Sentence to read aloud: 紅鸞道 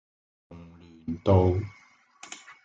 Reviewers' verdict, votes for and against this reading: rejected, 0, 2